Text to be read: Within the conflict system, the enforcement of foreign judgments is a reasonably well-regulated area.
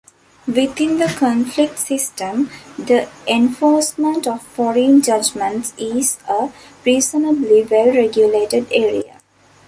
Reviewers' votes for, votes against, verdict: 1, 2, rejected